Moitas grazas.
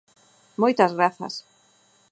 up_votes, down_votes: 4, 0